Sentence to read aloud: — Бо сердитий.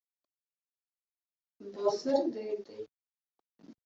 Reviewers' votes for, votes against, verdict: 1, 2, rejected